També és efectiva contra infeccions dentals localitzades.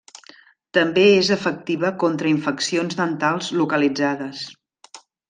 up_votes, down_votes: 3, 0